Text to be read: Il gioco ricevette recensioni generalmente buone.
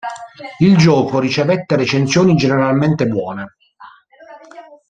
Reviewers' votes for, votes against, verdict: 1, 2, rejected